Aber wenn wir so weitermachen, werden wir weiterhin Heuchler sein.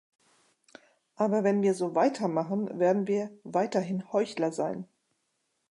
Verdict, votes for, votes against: accepted, 2, 0